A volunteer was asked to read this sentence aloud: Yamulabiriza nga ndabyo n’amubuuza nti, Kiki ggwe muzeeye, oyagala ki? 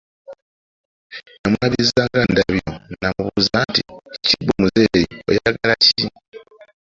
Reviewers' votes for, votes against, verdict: 1, 2, rejected